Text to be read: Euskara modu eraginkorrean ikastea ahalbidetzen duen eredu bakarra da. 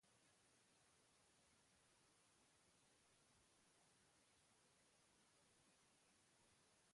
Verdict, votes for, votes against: rejected, 1, 2